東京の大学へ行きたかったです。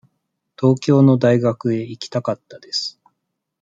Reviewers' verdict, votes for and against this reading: accepted, 2, 0